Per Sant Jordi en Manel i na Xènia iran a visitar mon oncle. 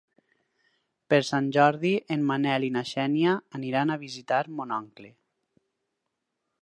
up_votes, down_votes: 4, 6